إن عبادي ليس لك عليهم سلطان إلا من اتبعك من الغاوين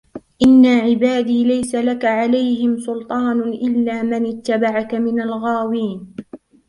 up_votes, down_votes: 3, 1